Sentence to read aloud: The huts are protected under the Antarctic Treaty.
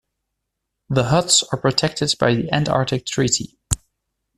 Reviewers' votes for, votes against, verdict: 1, 2, rejected